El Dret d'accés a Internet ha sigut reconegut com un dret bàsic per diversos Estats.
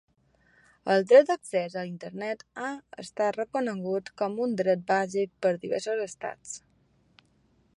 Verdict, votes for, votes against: rejected, 0, 2